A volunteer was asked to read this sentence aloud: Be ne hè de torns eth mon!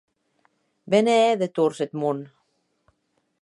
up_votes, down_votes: 3, 0